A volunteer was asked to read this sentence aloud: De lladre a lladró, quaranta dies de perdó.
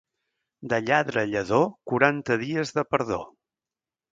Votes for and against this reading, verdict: 2, 3, rejected